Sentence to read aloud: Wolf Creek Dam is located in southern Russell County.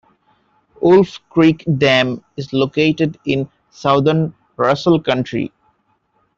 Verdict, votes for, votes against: rejected, 0, 2